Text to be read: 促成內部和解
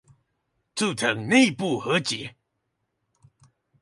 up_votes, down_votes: 2, 2